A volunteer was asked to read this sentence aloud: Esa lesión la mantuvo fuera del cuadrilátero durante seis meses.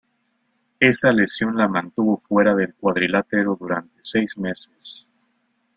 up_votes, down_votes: 1, 2